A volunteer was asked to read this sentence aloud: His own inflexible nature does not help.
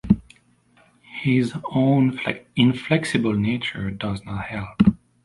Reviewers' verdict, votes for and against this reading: rejected, 0, 2